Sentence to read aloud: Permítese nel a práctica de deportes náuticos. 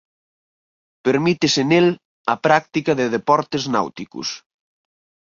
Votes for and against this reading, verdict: 4, 0, accepted